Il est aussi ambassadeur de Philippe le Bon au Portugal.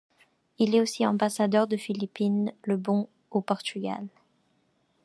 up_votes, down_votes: 0, 2